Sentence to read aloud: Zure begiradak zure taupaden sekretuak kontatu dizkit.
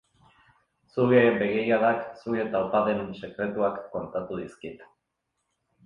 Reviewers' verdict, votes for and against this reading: accepted, 4, 0